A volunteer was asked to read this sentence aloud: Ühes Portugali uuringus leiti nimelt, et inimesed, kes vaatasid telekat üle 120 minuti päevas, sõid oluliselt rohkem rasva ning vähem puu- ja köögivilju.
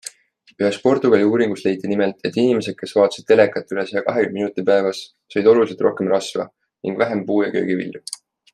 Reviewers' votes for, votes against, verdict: 0, 2, rejected